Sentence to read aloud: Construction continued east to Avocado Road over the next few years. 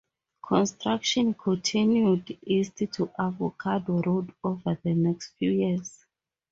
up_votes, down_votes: 4, 0